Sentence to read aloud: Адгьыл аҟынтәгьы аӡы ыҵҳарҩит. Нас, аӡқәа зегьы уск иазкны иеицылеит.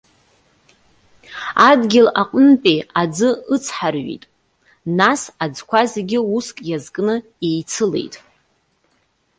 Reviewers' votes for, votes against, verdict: 1, 2, rejected